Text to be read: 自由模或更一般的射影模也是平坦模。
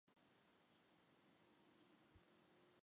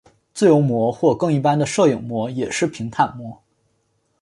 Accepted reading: second